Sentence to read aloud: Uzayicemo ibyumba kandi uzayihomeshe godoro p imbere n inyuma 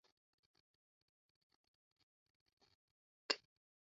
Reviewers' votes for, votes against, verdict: 0, 2, rejected